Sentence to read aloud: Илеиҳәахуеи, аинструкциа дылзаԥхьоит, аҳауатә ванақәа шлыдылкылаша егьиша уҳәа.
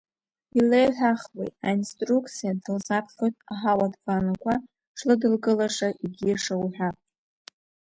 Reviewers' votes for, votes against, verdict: 2, 0, accepted